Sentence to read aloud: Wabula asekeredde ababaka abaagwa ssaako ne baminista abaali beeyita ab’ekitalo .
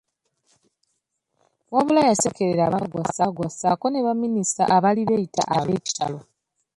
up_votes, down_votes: 0, 2